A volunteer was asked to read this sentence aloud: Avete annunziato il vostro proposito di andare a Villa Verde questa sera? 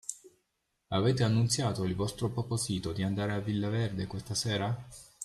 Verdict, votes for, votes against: rejected, 0, 2